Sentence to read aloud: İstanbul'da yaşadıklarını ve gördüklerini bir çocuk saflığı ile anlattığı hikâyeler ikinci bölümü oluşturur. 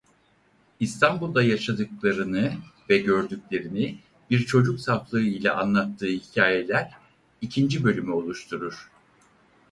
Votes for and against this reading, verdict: 4, 0, accepted